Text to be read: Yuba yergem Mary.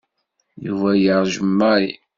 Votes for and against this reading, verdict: 1, 2, rejected